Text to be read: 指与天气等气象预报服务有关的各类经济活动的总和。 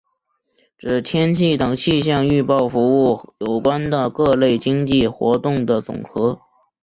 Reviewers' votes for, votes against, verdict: 1, 2, rejected